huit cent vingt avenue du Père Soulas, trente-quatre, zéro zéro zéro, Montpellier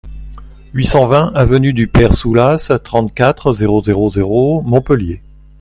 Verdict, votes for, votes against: accepted, 2, 0